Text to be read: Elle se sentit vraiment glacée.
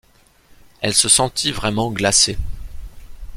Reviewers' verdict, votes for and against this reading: accepted, 2, 0